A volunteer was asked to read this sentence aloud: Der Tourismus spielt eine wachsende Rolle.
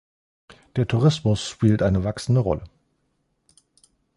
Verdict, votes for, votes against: accepted, 2, 0